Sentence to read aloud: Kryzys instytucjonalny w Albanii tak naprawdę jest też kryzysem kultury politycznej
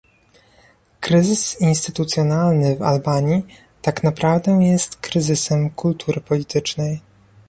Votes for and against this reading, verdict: 2, 0, accepted